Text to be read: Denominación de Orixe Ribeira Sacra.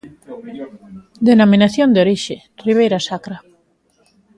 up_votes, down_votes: 1, 2